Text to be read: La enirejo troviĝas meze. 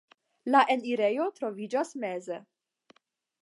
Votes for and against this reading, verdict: 5, 0, accepted